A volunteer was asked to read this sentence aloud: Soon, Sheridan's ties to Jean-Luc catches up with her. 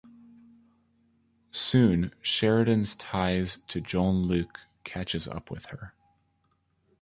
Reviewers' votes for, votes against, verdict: 1, 2, rejected